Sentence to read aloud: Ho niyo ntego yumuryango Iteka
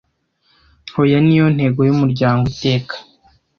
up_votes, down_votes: 1, 2